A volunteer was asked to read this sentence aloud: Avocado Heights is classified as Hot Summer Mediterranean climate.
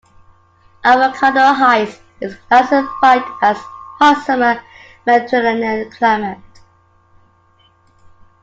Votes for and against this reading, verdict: 2, 1, accepted